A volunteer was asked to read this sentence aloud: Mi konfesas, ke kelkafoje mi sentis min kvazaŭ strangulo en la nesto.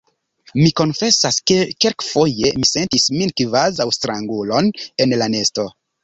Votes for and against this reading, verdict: 2, 0, accepted